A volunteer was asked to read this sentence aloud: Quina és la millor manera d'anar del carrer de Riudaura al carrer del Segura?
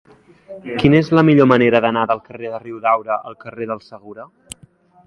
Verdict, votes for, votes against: accepted, 3, 1